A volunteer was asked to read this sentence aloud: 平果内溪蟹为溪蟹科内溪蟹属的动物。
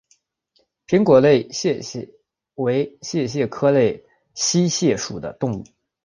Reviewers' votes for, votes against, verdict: 0, 2, rejected